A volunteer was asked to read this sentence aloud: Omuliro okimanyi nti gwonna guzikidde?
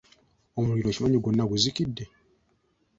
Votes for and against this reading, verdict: 2, 0, accepted